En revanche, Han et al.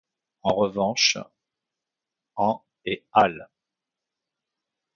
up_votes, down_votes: 2, 1